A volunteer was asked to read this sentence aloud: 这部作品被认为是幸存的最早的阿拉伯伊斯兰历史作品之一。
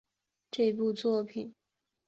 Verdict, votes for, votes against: rejected, 0, 2